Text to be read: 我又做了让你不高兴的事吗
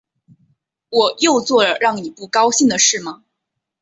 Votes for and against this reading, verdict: 3, 0, accepted